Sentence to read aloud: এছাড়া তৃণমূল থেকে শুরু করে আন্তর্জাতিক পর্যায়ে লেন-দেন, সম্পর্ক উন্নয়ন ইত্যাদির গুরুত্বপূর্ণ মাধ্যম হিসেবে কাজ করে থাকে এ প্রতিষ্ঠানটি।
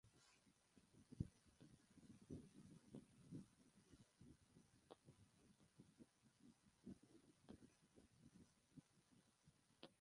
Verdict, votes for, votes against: rejected, 0, 3